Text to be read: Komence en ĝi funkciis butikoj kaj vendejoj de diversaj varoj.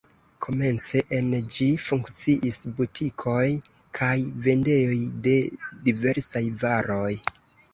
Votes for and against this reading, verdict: 0, 2, rejected